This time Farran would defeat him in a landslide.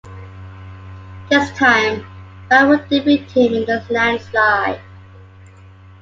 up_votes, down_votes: 1, 2